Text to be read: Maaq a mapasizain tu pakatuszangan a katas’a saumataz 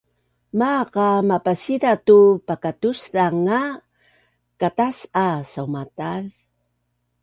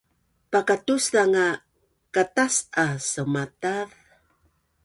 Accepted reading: first